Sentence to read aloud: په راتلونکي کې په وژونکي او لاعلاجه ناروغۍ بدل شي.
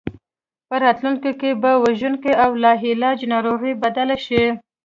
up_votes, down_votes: 2, 0